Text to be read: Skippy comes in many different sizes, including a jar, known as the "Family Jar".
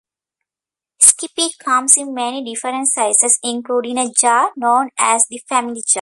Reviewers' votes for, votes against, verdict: 0, 2, rejected